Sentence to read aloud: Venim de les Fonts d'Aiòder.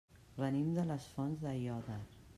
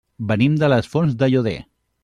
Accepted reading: first